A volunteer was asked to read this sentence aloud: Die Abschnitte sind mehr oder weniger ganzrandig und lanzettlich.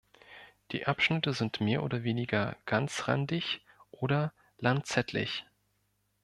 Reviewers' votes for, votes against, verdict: 1, 2, rejected